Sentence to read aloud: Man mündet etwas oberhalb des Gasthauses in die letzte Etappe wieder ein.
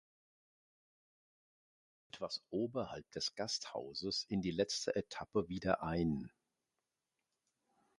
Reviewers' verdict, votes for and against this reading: rejected, 0, 2